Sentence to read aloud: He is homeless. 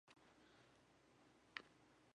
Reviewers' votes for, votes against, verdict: 0, 2, rejected